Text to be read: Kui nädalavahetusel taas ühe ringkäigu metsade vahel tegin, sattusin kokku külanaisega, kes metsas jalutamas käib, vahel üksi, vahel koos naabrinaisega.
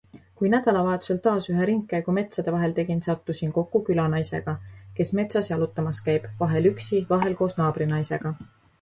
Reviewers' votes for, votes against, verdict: 2, 0, accepted